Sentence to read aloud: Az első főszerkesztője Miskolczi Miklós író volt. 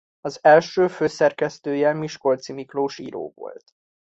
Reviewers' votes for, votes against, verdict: 2, 0, accepted